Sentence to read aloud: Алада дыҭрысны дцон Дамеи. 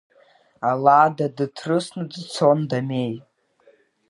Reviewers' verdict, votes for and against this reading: rejected, 1, 2